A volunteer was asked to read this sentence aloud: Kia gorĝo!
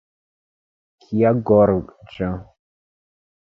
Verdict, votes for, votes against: accepted, 2, 1